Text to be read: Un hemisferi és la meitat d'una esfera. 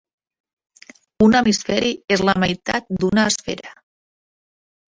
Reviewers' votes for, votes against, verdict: 3, 0, accepted